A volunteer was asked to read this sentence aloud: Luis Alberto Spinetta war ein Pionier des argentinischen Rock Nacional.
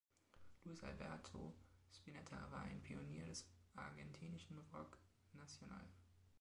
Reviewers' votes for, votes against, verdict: 2, 1, accepted